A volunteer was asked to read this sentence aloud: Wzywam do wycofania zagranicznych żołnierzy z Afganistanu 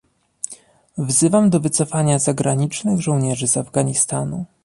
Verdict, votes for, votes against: accepted, 2, 0